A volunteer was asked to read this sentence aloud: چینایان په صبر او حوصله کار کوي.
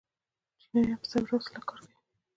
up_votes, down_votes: 1, 2